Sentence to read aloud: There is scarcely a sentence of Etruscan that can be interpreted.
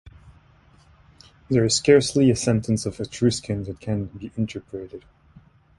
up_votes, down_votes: 2, 0